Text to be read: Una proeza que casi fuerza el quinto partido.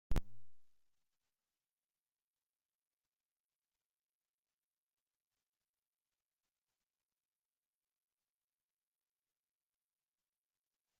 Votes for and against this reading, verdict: 0, 2, rejected